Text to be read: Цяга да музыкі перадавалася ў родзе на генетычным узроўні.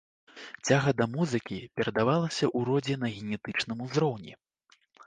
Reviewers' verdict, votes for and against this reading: accepted, 2, 0